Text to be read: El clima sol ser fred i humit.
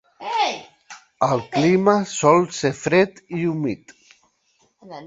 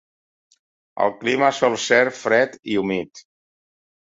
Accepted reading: second